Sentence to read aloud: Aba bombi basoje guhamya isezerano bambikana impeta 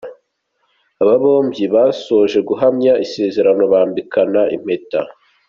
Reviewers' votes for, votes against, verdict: 2, 0, accepted